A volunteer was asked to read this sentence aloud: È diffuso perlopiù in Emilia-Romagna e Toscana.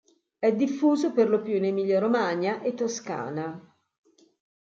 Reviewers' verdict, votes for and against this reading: accepted, 2, 0